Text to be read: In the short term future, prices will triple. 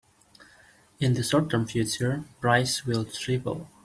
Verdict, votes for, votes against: rejected, 0, 2